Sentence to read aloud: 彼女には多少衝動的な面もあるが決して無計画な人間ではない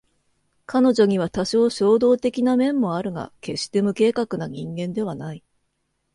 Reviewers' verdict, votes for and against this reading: accepted, 2, 0